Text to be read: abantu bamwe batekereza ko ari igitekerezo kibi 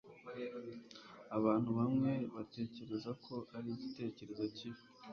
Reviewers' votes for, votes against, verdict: 2, 0, accepted